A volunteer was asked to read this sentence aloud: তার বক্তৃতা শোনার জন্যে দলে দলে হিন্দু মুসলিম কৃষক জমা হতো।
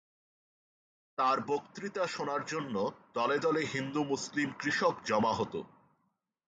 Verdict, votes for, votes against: accepted, 2, 0